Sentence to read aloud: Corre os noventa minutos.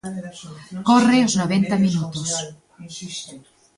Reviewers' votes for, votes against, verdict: 2, 1, accepted